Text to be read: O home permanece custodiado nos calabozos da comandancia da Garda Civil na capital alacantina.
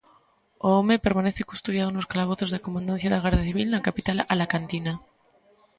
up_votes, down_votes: 1, 2